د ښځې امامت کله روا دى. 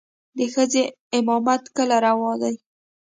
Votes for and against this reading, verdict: 2, 0, accepted